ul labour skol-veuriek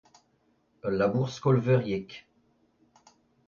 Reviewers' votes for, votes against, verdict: 2, 0, accepted